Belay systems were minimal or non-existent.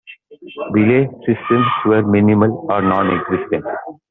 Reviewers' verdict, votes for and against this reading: accepted, 2, 0